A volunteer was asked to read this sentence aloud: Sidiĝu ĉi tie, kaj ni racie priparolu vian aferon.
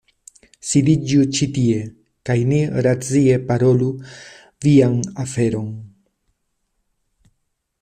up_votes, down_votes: 1, 2